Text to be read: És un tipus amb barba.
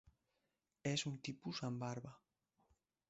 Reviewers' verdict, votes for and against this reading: rejected, 0, 2